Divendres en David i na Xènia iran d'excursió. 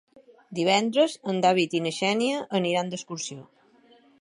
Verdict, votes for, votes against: rejected, 0, 2